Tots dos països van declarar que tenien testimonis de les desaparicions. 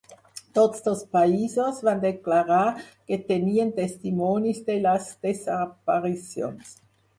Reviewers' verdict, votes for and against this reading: accepted, 4, 0